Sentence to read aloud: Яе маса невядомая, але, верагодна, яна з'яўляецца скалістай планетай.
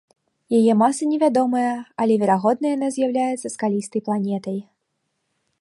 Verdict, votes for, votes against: accepted, 2, 0